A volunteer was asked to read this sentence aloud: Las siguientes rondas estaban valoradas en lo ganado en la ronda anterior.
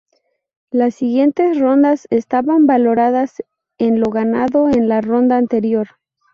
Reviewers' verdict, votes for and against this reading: accepted, 4, 0